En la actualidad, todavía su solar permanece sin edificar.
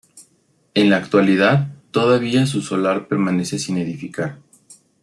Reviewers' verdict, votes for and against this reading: accepted, 2, 0